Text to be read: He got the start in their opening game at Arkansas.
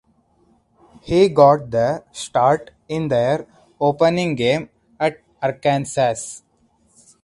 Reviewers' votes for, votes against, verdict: 2, 0, accepted